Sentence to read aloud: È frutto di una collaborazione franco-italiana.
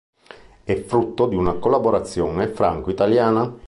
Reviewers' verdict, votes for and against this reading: accepted, 5, 0